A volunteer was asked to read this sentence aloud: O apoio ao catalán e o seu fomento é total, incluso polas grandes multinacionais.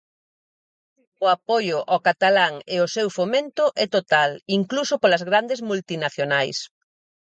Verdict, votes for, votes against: accepted, 4, 0